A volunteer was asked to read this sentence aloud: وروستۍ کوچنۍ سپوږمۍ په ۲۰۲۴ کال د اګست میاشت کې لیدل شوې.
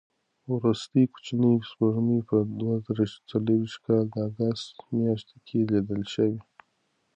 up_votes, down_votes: 0, 2